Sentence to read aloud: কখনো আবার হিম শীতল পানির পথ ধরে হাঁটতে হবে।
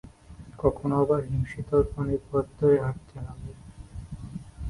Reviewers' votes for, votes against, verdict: 0, 2, rejected